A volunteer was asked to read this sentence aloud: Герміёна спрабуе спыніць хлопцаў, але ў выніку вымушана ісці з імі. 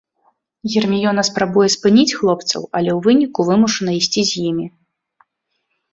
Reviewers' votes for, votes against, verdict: 2, 0, accepted